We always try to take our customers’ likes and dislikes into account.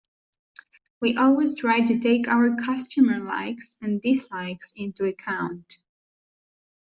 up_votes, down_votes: 1, 2